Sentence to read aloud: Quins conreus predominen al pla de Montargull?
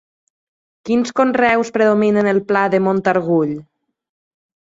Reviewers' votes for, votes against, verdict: 0, 2, rejected